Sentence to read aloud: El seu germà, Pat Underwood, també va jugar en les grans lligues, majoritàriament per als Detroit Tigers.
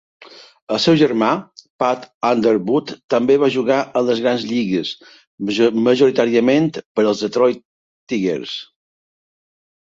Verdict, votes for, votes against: rejected, 0, 2